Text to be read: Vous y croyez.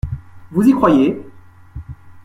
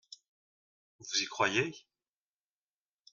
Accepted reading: first